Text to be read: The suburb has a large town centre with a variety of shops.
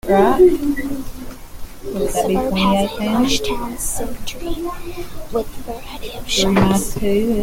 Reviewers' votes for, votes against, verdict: 0, 2, rejected